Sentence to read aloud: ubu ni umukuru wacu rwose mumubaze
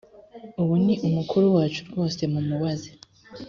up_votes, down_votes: 4, 0